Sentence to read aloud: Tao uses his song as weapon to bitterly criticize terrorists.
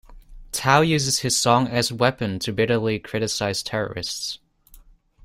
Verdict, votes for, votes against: accepted, 2, 0